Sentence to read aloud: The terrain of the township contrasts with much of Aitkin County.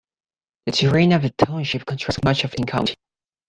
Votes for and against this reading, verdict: 1, 2, rejected